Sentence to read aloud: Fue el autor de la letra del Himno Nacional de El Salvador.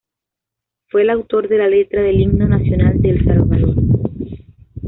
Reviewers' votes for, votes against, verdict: 2, 1, accepted